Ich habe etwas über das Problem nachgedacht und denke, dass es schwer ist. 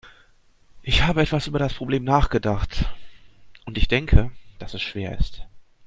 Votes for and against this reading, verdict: 0, 2, rejected